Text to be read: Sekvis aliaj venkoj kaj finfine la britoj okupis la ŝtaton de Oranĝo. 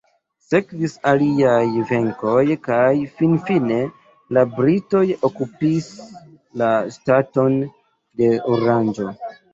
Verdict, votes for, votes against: accepted, 2, 1